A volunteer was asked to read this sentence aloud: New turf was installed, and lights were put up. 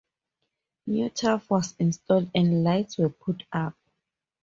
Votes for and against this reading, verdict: 4, 0, accepted